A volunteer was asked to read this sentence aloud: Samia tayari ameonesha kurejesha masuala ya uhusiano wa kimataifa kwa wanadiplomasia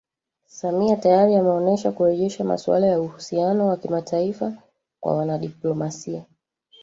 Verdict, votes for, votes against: rejected, 1, 2